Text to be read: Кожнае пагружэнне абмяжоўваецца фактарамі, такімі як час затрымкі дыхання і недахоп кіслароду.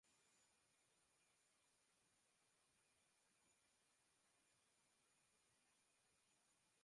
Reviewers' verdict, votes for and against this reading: rejected, 0, 2